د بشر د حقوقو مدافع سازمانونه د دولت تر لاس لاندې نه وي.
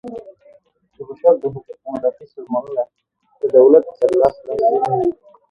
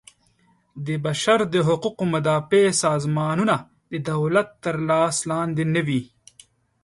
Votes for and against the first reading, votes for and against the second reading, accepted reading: 0, 2, 2, 0, second